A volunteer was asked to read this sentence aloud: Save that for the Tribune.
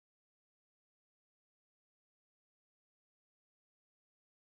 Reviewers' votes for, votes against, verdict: 0, 2, rejected